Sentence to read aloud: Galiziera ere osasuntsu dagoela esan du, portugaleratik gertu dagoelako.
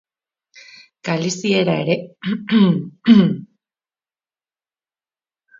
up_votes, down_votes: 0, 3